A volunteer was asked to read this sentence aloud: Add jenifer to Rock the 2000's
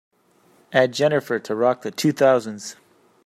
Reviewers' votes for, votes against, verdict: 0, 2, rejected